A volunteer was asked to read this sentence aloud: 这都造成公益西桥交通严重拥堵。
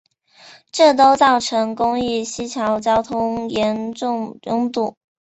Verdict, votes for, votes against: accepted, 2, 0